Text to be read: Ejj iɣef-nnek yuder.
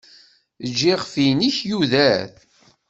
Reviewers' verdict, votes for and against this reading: accepted, 2, 1